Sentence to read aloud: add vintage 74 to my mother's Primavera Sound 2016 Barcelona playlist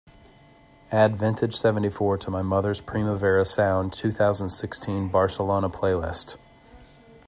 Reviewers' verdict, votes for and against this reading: rejected, 0, 2